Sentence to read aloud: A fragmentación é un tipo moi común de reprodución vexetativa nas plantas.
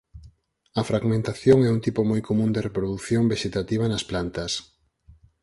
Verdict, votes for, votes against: accepted, 4, 0